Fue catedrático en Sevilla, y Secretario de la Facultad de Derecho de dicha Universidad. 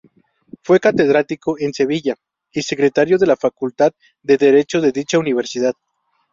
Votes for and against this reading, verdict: 2, 0, accepted